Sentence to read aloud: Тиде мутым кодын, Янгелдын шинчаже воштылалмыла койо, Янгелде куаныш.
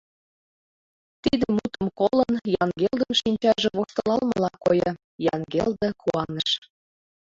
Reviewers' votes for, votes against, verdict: 0, 2, rejected